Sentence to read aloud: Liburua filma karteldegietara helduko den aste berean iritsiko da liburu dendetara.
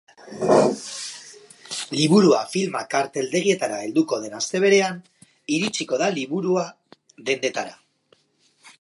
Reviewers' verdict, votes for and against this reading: rejected, 0, 4